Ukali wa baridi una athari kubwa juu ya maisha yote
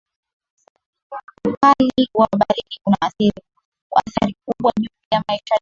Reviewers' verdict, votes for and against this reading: rejected, 2, 3